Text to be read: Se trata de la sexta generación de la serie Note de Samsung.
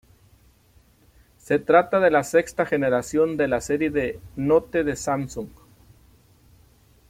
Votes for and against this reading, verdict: 0, 2, rejected